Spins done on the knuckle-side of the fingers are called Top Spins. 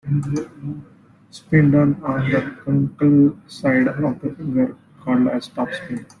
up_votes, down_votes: 0, 2